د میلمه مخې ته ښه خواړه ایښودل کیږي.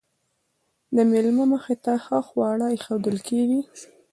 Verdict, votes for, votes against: rejected, 1, 2